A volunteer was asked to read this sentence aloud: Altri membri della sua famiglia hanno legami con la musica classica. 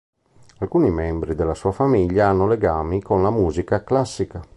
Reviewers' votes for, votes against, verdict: 1, 2, rejected